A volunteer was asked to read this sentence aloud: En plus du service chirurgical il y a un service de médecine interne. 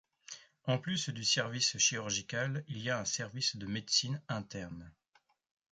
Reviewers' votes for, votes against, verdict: 2, 0, accepted